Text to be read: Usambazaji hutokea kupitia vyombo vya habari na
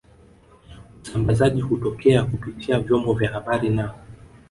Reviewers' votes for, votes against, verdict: 1, 2, rejected